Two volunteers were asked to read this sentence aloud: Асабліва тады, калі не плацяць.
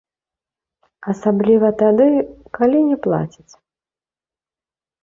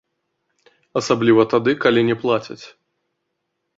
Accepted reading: second